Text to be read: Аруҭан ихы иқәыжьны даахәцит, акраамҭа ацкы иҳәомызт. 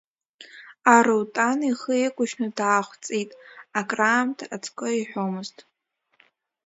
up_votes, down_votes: 0, 2